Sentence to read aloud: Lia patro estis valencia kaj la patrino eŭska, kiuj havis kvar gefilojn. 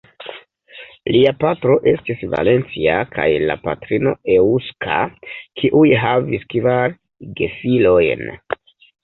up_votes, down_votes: 0, 2